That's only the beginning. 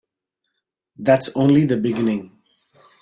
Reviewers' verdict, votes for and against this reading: accepted, 2, 0